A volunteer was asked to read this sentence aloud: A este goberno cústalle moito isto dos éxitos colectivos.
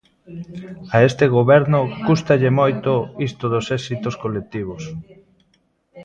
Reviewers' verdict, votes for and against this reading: rejected, 1, 2